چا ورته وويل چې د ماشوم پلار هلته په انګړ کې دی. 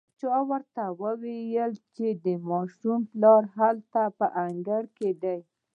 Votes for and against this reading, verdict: 1, 2, rejected